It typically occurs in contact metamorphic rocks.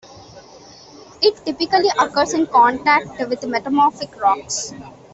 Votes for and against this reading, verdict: 2, 1, accepted